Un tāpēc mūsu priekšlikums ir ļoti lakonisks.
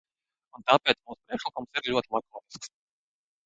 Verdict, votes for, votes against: rejected, 0, 2